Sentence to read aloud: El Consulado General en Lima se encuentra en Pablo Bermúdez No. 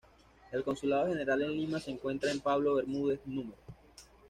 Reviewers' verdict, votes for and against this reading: rejected, 1, 2